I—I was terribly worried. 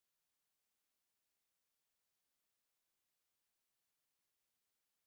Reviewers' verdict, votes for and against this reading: rejected, 0, 2